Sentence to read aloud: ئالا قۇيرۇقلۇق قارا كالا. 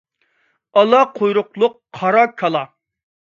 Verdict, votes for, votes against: accepted, 2, 0